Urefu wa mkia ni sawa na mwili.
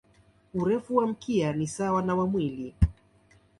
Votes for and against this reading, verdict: 1, 2, rejected